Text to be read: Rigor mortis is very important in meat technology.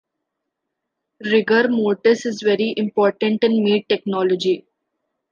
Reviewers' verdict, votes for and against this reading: accepted, 2, 0